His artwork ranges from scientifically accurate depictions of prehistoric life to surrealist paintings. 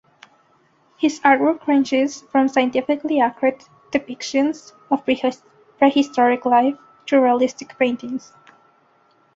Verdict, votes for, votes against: accepted, 2, 1